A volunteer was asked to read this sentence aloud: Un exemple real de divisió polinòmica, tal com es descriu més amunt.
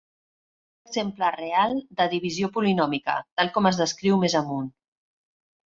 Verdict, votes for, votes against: rejected, 0, 2